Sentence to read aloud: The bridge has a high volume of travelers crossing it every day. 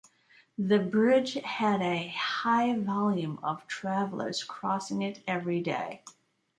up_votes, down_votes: 1, 2